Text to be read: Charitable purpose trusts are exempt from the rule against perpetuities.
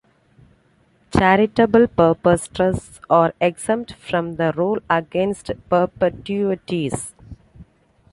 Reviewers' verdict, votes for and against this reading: rejected, 0, 2